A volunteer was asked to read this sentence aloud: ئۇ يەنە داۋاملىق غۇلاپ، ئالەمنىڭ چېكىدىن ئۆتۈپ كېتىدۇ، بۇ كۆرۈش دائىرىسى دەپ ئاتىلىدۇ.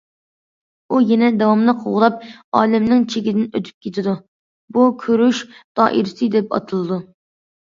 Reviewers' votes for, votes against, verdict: 2, 0, accepted